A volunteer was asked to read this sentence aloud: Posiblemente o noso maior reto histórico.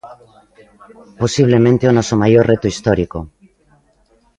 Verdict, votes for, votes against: accepted, 2, 0